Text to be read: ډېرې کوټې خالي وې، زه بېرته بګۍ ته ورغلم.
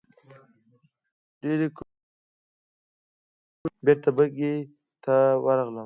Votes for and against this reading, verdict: 0, 2, rejected